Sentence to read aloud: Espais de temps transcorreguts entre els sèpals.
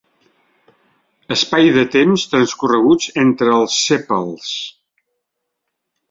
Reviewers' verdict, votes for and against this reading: rejected, 1, 2